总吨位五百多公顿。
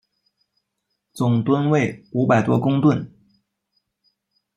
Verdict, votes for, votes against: rejected, 1, 2